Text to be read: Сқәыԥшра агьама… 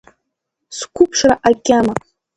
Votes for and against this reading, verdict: 2, 0, accepted